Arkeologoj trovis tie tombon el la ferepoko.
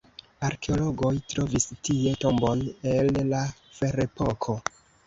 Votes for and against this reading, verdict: 0, 2, rejected